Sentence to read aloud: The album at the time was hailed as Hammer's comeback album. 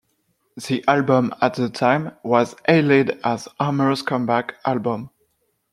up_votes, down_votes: 1, 2